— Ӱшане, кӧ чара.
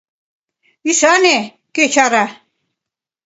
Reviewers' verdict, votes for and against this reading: accepted, 2, 0